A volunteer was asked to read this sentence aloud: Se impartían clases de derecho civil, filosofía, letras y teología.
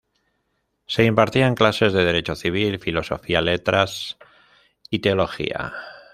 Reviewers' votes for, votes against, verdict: 0, 2, rejected